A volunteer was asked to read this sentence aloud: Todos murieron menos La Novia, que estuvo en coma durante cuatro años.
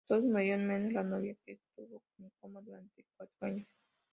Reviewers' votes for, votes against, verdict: 0, 2, rejected